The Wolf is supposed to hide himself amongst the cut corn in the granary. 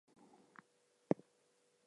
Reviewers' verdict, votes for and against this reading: rejected, 0, 4